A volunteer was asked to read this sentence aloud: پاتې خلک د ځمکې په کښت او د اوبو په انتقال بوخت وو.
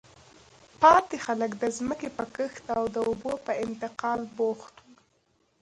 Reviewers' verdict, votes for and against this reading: rejected, 1, 2